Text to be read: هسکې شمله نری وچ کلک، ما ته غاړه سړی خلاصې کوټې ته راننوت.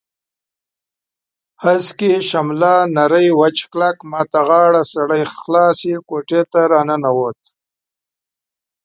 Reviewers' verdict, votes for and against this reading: accepted, 2, 1